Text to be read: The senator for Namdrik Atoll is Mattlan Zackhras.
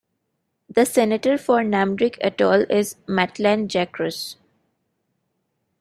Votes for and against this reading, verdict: 1, 2, rejected